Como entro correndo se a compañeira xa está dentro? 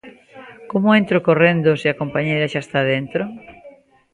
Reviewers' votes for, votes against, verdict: 2, 0, accepted